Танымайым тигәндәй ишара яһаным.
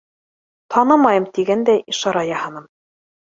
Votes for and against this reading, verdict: 2, 0, accepted